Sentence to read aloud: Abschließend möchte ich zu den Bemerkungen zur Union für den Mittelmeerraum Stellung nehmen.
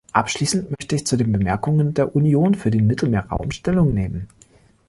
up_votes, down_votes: 1, 2